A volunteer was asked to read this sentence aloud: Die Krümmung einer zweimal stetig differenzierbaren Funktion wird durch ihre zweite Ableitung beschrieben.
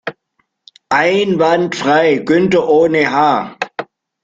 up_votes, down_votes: 0, 2